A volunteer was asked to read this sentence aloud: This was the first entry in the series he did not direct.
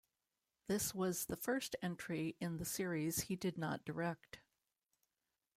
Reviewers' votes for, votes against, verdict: 0, 2, rejected